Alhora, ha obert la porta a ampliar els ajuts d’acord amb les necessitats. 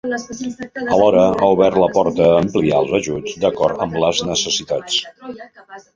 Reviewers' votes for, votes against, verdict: 0, 2, rejected